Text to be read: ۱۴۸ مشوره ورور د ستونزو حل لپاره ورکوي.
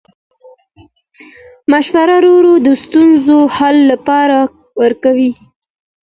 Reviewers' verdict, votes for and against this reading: rejected, 0, 2